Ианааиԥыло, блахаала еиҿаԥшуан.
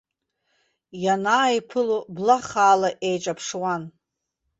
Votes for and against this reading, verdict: 2, 0, accepted